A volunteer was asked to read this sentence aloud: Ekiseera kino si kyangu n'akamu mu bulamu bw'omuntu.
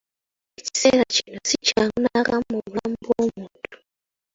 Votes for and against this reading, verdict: 2, 0, accepted